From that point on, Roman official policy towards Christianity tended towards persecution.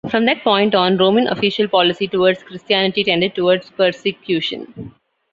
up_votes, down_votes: 1, 2